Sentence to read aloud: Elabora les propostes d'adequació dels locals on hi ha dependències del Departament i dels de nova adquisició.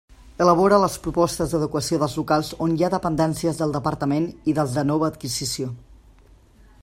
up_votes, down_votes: 2, 1